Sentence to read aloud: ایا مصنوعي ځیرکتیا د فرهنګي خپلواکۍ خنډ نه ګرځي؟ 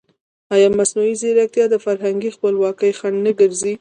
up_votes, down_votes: 1, 2